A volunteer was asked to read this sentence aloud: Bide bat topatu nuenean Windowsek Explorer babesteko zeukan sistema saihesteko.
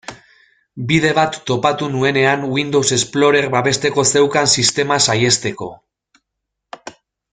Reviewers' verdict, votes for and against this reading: rejected, 0, 2